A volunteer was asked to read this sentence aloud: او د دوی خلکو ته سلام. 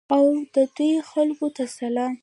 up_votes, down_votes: 0, 2